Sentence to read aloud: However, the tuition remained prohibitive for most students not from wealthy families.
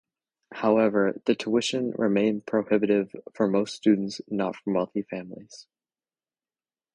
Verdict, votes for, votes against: accepted, 2, 0